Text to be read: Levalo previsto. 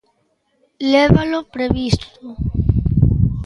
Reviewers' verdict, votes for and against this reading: accepted, 2, 1